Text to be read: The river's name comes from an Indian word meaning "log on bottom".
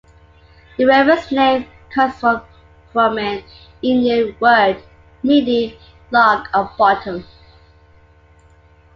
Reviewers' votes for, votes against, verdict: 3, 2, accepted